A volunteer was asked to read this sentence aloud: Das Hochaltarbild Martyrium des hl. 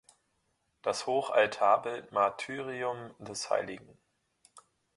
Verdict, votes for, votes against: rejected, 0, 2